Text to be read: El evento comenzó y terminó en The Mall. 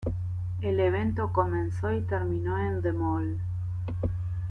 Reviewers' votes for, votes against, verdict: 1, 2, rejected